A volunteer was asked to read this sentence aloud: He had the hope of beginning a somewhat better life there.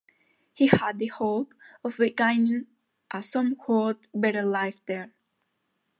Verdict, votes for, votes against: rejected, 0, 2